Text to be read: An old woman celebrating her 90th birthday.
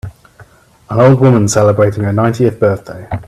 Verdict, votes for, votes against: rejected, 0, 2